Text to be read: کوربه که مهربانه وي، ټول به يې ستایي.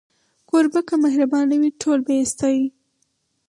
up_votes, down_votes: 4, 0